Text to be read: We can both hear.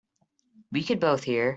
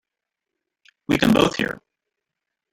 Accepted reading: first